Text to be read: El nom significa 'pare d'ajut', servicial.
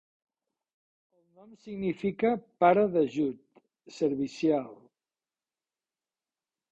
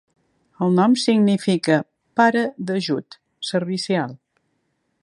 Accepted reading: second